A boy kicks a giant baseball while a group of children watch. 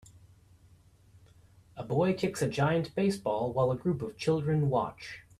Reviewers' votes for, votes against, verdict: 2, 0, accepted